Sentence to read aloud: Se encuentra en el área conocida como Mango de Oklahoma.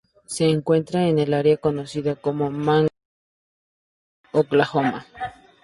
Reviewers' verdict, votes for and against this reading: accepted, 2, 0